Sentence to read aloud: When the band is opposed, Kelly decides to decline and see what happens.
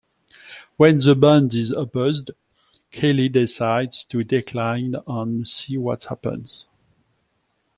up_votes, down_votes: 1, 2